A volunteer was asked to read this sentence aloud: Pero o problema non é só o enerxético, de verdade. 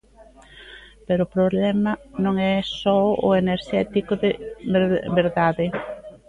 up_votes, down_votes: 0, 2